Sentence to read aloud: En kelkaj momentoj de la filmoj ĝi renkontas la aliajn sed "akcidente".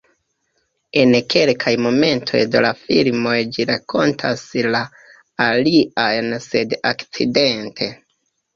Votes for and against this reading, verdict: 1, 2, rejected